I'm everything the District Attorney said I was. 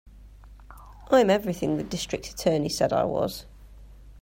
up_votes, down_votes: 2, 0